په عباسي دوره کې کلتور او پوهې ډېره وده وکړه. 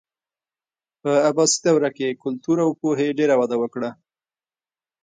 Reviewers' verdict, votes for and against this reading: rejected, 1, 2